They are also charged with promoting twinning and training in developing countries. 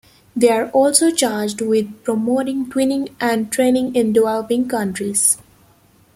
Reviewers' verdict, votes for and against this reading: accepted, 2, 1